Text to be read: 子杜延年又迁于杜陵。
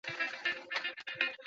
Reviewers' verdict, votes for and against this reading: rejected, 0, 5